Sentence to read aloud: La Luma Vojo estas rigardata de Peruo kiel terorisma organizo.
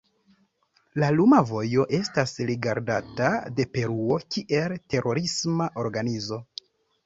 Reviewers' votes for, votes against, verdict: 1, 2, rejected